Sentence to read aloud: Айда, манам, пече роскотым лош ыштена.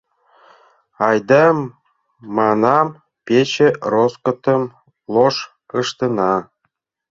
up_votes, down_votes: 1, 2